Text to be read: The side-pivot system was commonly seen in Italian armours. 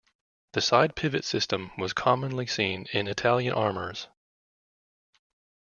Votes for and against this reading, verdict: 2, 1, accepted